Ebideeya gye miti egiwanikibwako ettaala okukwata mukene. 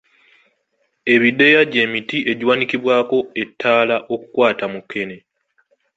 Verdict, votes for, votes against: accepted, 2, 0